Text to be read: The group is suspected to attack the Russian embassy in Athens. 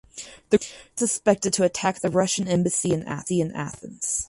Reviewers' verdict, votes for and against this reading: rejected, 0, 4